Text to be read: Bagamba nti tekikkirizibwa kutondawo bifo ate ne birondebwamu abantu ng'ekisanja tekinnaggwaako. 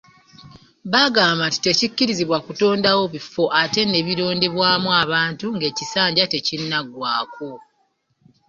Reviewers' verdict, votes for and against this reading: accepted, 2, 1